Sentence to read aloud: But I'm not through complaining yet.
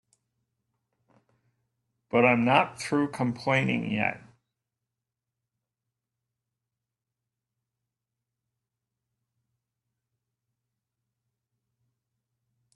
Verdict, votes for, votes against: accepted, 2, 0